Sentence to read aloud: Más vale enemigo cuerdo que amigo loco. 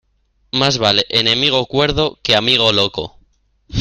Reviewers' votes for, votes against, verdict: 1, 2, rejected